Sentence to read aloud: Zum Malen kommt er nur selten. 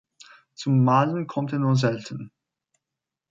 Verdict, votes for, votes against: accepted, 3, 0